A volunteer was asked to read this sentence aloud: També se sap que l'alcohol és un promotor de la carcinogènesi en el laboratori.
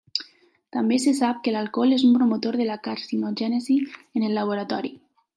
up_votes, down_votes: 3, 0